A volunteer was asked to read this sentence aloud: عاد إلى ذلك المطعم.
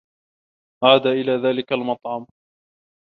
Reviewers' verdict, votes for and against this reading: accepted, 2, 0